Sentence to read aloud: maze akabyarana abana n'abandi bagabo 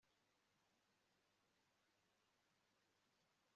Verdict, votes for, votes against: rejected, 1, 2